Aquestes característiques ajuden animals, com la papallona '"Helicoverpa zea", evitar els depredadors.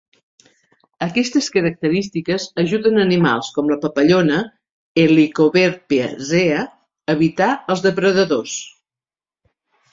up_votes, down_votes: 0, 2